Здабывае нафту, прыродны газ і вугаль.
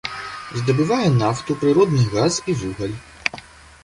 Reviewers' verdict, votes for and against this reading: accepted, 2, 0